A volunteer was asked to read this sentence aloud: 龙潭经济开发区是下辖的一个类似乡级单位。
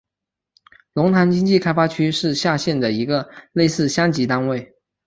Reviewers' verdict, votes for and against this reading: rejected, 1, 3